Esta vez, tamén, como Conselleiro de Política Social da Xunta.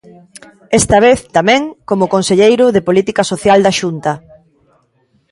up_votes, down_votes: 2, 0